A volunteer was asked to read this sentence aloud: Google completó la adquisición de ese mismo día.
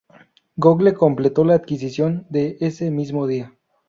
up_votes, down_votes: 0, 2